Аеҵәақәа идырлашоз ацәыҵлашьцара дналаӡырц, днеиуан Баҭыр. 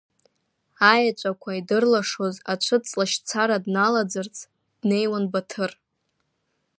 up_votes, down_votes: 2, 0